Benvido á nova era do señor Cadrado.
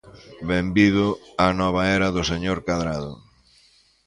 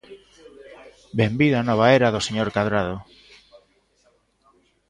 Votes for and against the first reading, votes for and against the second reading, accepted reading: 2, 0, 1, 2, first